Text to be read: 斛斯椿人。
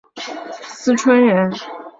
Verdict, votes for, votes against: rejected, 2, 6